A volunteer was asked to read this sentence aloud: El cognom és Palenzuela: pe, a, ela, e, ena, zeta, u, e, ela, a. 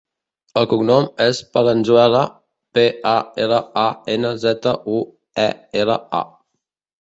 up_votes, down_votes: 0, 2